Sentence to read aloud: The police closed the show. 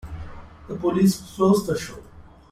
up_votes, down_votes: 2, 0